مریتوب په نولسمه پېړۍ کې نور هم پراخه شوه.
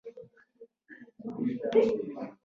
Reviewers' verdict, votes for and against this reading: rejected, 0, 2